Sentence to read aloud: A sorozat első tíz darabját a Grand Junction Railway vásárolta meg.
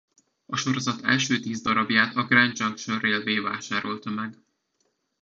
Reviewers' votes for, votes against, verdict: 2, 1, accepted